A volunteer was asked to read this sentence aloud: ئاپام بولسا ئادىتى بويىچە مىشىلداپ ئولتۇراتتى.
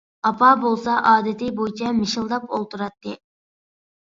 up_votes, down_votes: 2, 0